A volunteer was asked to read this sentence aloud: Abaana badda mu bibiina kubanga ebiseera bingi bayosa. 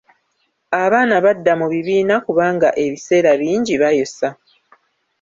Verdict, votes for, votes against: rejected, 1, 2